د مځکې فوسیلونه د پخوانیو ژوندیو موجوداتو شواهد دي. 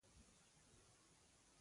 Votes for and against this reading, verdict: 0, 2, rejected